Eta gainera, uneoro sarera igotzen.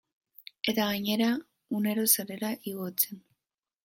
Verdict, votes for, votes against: rejected, 0, 2